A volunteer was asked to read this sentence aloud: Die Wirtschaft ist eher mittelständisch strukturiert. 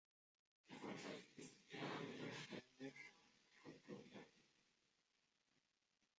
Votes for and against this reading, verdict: 0, 2, rejected